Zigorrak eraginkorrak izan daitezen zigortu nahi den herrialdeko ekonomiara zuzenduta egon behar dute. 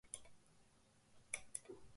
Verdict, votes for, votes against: rejected, 0, 3